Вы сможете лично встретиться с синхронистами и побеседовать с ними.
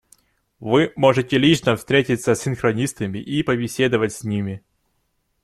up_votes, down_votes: 0, 2